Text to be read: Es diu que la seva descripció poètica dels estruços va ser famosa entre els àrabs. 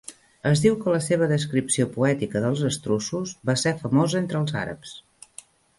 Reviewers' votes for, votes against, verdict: 2, 0, accepted